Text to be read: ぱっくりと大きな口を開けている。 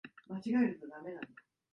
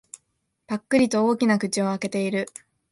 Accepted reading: second